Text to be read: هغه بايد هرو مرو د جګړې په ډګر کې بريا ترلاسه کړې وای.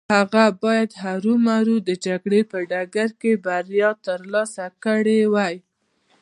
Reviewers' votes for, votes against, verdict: 2, 0, accepted